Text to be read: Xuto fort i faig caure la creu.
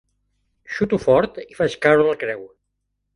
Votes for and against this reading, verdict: 2, 0, accepted